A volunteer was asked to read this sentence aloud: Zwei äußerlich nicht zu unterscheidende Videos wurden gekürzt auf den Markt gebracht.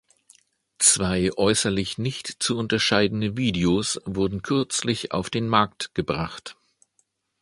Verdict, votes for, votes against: rejected, 0, 2